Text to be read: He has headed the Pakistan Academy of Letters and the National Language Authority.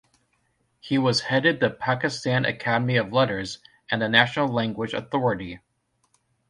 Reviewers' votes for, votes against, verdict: 1, 2, rejected